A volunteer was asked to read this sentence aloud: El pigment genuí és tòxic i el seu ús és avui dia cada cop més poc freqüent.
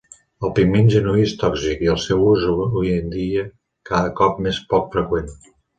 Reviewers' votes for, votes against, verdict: 0, 2, rejected